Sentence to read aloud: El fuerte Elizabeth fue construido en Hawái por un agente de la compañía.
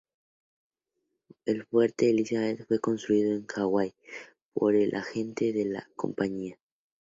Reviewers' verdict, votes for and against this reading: rejected, 0, 2